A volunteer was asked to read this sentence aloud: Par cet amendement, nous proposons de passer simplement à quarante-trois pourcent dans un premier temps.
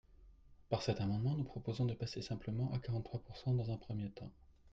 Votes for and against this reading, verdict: 2, 0, accepted